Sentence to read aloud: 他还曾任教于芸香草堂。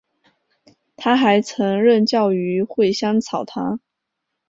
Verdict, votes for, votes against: accepted, 4, 3